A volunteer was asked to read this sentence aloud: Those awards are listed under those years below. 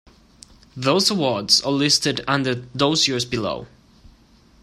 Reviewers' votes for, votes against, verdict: 2, 0, accepted